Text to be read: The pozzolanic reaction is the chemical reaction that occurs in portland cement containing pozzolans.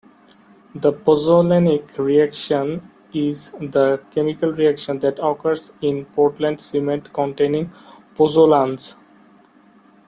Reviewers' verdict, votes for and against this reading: accepted, 2, 0